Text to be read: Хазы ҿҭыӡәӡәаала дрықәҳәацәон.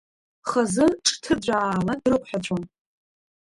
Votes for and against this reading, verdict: 0, 2, rejected